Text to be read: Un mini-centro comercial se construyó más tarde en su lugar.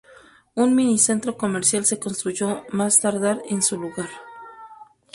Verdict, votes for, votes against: rejected, 0, 2